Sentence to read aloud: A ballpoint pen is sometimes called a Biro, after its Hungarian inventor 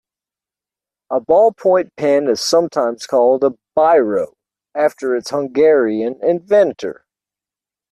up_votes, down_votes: 2, 0